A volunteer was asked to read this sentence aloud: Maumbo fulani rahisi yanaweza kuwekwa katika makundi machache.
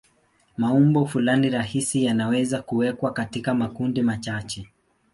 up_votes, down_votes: 3, 0